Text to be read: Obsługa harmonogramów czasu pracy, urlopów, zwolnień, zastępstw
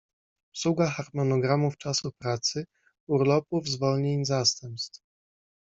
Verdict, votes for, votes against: accepted, 2, 0